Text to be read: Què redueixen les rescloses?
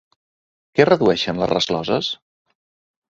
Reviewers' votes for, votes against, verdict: 2, 0, accepted